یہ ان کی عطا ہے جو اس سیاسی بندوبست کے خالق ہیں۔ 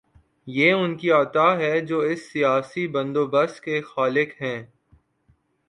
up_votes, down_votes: 4, 0